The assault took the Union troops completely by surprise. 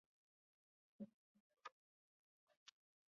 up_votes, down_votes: 0, 2